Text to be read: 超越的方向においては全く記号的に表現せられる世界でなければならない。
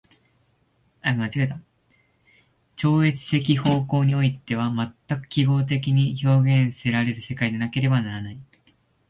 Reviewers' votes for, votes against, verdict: 0, 2, rejected